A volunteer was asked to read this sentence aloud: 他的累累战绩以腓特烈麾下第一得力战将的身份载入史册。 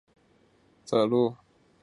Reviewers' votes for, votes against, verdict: 0, 4, rejected